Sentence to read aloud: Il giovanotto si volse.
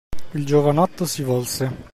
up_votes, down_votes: 2, 0